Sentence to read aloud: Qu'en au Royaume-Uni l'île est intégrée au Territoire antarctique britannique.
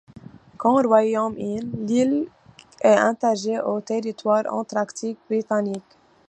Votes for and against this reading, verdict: 0, 2, rejected